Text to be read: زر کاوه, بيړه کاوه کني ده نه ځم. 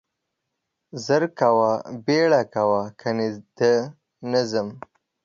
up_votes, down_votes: 2, 0